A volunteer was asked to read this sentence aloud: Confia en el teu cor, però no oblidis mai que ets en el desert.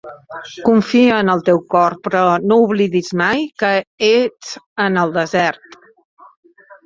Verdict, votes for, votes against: rejected, 0, 2